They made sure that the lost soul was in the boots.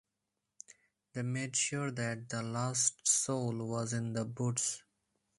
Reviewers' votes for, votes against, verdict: 4, 0, accepted